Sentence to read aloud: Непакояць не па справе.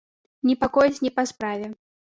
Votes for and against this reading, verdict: 2, 0, accepted